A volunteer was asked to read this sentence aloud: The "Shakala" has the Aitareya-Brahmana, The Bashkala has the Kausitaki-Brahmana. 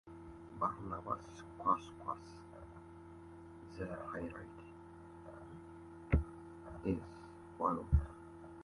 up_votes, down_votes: 0, 2